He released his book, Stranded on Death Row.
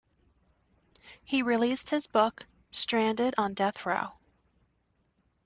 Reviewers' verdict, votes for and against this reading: accepted, 2, 1